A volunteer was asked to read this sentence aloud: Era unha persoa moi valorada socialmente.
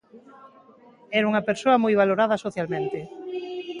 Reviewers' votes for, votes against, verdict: 2, 0, accepted